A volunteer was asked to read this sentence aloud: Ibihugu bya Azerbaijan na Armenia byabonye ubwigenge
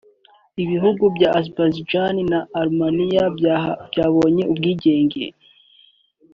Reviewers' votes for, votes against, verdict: 0, 2, rejected